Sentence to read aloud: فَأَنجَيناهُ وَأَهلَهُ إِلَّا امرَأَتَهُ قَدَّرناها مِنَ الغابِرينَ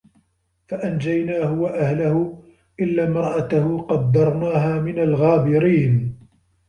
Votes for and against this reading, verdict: 0, 2, rejected